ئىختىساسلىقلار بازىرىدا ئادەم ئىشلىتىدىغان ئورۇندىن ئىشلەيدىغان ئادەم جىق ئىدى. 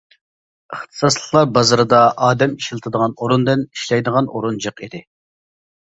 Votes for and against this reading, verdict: 0, 2, rejected